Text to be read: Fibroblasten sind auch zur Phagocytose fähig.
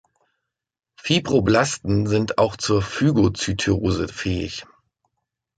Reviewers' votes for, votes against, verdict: 1, 2, rejected